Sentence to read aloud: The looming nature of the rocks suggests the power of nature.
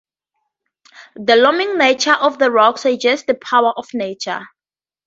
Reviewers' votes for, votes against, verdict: 0, 2, rejected